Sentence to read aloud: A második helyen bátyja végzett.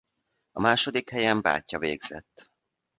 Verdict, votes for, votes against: accepted, 2, 0